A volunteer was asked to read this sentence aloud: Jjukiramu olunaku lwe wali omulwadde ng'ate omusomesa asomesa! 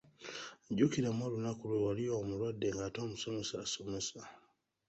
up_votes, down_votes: 2, 0